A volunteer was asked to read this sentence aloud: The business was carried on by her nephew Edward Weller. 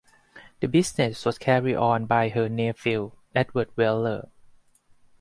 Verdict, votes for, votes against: accepted, 2, 0